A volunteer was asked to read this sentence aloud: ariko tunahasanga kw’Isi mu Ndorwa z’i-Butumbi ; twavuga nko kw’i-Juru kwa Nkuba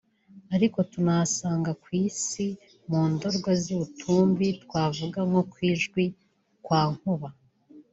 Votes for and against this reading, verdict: 0, 2, rejected